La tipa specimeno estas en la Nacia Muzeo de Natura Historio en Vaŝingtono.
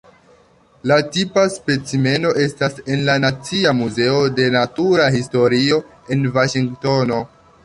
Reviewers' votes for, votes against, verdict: 2, 0, accepted